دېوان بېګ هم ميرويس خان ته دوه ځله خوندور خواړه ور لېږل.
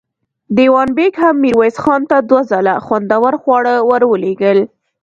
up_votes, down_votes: 1, 2